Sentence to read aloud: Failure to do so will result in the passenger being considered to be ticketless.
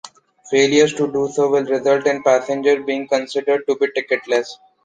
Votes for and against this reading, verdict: 1, 2, rejected